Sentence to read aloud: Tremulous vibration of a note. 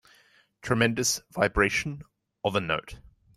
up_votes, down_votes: 1, 2